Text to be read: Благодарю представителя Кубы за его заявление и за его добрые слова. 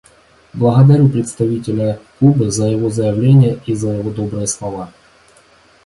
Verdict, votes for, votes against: accepted, 2, 0